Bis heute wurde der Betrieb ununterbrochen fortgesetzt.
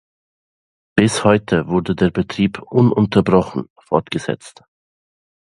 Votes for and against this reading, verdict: 2, 0, accepted